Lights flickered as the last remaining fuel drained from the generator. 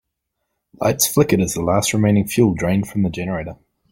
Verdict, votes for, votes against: accepted, 2, 0